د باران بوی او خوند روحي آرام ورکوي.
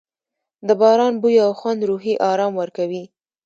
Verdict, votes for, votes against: accepted, 2, 0